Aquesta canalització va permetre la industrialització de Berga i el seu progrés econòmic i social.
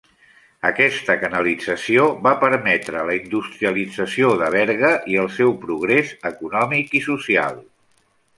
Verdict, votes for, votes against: rejected, 0, 2